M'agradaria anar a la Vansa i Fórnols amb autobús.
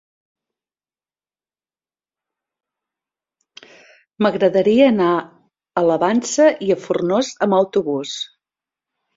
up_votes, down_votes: 0, 2